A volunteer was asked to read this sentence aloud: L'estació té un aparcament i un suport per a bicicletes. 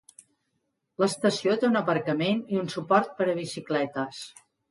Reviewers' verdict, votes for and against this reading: accepted, 2, 0